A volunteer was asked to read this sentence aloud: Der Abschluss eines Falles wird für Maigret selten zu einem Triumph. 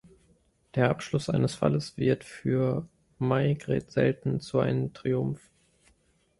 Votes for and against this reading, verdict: 0, 2, rejected